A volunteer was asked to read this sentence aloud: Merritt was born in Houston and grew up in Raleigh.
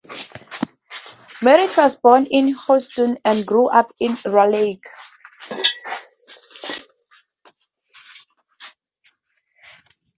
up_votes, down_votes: 0, 2